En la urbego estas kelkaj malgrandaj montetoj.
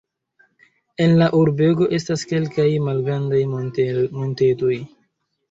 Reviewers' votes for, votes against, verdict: 0, 2, rejected